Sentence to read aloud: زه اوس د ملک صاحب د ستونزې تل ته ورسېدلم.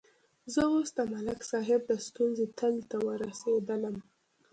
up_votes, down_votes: 0, 2